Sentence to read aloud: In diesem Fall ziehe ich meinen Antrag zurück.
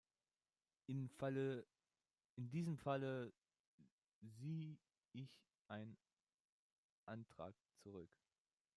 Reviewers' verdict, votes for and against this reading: rejected, 0, 2